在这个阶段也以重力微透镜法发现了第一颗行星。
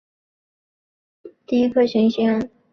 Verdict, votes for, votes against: rejected, 2, 5